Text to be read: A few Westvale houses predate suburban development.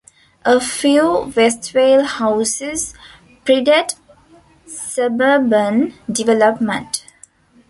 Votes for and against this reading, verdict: 2, 1, accepted